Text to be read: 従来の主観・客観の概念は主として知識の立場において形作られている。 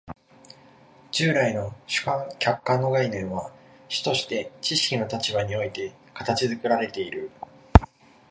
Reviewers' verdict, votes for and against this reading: accepted, 2, 1